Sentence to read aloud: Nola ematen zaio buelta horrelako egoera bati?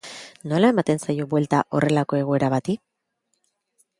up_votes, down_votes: 3, 0